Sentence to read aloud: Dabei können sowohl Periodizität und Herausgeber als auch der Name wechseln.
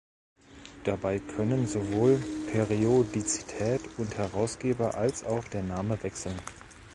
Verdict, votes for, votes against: accepted, 2, 0